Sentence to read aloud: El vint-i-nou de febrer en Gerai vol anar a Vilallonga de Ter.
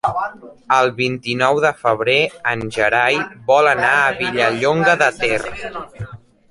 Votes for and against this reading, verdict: 0, 2, rejected